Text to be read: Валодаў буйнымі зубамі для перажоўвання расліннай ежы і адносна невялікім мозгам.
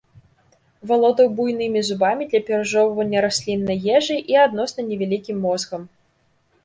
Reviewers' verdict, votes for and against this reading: accepted, 2, 0